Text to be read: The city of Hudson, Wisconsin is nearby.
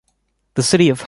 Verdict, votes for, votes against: rejected, 0, 2